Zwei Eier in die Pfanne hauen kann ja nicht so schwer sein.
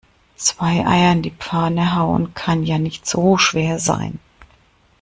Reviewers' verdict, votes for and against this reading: accepted, 2, 0